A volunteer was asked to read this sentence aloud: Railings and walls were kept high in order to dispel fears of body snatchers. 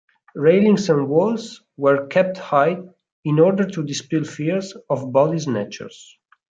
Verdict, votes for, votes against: accepted, 2, 0